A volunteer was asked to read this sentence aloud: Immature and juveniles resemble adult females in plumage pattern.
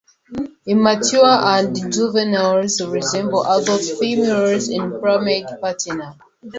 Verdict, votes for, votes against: rejected, 0, 2